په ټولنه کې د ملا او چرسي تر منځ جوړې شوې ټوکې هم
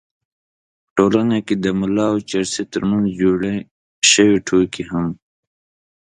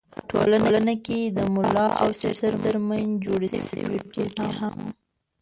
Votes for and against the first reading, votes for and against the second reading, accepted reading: 4, 0, 0, 2, first